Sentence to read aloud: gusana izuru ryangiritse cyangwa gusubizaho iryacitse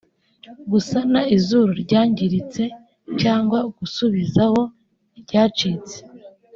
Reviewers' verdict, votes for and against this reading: accepted, 2, 0